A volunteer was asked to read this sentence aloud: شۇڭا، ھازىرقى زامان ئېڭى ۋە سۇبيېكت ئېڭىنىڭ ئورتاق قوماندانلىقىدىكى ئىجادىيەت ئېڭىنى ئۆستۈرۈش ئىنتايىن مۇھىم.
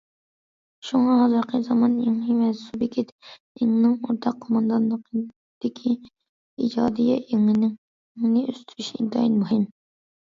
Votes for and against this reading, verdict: 0, 2, rejected